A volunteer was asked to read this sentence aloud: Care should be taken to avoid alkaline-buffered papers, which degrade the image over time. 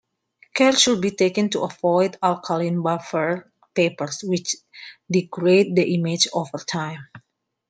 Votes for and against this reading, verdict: 0, 2, rejected